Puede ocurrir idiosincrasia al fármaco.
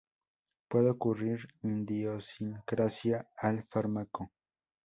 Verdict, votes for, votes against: accepted, 2, 0